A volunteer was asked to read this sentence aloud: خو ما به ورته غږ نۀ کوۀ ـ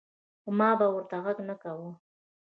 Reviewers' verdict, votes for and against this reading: rejected, 0, 2